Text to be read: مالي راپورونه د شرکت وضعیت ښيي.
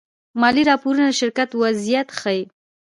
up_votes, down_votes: 1, 2